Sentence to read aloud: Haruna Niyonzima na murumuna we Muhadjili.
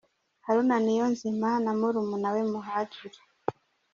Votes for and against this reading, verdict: 2, 0, accepted